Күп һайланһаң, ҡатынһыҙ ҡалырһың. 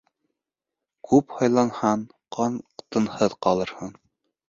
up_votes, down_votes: 1, 2